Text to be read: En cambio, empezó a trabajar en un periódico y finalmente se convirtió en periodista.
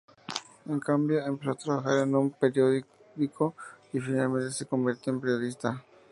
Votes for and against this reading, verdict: 0, 2, rejected